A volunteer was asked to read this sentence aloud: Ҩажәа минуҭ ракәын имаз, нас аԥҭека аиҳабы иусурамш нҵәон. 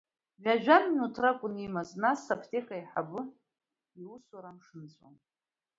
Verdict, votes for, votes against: accepted, 2, 1